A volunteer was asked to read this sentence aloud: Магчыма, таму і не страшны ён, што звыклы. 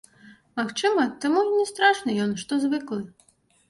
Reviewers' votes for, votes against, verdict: 2, 0, accepted